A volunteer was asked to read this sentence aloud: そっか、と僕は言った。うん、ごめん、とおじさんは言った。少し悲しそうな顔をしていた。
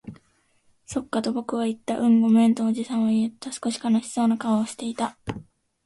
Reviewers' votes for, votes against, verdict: 2, 0, accepted